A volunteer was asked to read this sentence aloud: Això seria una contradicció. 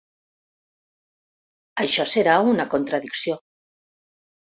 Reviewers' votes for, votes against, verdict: 0, 2, rejected